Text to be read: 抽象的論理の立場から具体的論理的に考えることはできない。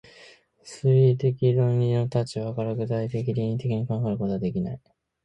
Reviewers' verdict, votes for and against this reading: rejected, 1, 2